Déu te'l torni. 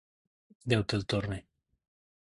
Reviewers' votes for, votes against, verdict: 2, 0, accepted